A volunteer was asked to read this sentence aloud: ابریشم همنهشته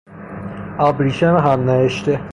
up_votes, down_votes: 0, 3